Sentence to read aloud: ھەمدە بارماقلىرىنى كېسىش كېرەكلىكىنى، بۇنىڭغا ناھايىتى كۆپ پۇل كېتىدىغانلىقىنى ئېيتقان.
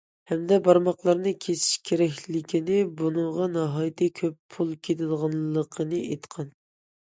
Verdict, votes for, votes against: accepted, 2, 0